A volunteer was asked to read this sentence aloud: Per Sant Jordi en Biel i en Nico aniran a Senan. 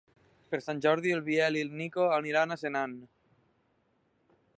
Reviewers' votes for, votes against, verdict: 3, 0, accepted